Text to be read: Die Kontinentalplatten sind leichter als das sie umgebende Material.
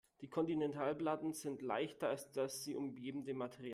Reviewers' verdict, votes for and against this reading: rejected, 1, 2